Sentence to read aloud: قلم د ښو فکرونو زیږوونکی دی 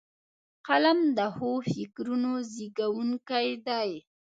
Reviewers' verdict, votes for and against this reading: accepted, 2, 1